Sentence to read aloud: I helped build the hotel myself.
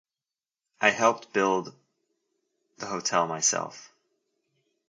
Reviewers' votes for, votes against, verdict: 2, 0, accepted